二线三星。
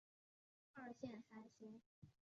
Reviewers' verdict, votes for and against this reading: rejected, 1, 2